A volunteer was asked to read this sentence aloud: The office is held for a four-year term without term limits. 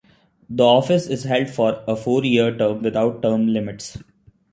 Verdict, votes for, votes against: accepted, 2, 0